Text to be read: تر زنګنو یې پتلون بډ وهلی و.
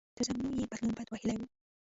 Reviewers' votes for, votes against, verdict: 1, 2, rejected